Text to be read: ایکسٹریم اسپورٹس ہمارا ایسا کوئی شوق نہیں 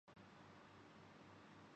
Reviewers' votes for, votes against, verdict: 0, 5, rejected